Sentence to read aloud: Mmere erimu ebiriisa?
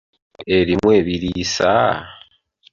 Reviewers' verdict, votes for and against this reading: rejected, 0, 2